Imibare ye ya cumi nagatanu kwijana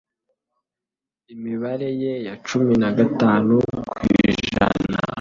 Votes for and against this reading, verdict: 1, 2, rejected